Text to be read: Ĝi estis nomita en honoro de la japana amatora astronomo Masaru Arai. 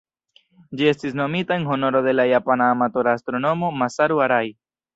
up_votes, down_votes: 2, 1